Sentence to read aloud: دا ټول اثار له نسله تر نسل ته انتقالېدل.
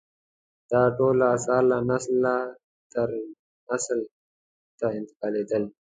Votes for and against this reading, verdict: 2, 0, accepted